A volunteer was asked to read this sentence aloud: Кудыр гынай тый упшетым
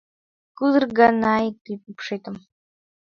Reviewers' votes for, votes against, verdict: 0, 3, rejected